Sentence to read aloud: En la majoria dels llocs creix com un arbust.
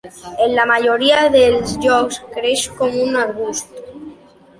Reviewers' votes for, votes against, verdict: 2, 1, accepted